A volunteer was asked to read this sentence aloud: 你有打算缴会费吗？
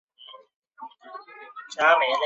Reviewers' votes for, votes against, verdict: 1, 3, rejected